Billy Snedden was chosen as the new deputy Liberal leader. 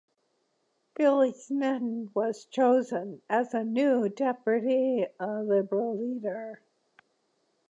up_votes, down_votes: 1, 2